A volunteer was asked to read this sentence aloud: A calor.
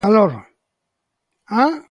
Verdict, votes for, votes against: rejected, 0, 2